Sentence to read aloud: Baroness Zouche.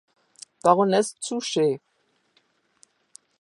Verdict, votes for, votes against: accepted, 2, 0